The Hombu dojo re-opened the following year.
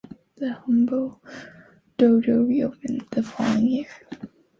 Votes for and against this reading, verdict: 2, 0, accepted